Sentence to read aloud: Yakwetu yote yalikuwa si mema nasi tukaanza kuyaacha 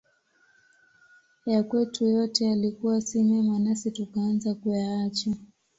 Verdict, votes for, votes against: accepted, 2, 0